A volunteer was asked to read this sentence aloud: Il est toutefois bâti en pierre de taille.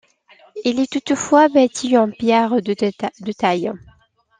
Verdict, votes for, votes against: rejected, 0, 2